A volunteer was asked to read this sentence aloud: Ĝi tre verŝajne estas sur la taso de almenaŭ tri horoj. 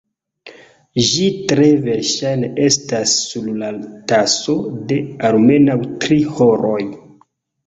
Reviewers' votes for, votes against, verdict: 3, 2, accepted